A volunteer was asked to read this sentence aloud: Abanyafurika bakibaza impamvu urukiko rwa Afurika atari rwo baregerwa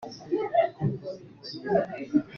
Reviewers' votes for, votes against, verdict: 0, 4, rejected